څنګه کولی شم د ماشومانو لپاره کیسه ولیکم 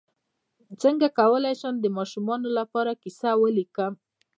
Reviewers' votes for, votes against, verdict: 2, 0, accepted